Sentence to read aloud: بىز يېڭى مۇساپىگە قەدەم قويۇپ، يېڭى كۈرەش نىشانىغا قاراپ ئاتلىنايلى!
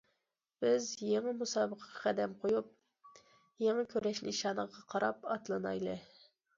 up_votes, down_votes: 0, 2